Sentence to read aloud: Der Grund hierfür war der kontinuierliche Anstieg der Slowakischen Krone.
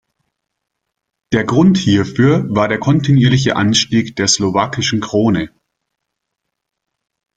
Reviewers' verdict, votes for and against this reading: accepted, 2, 0